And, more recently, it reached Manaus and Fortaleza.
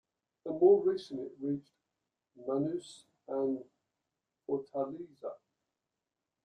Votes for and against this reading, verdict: 2, 0, accepted